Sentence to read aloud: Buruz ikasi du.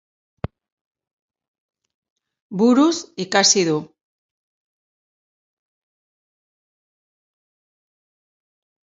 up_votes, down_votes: 2, 0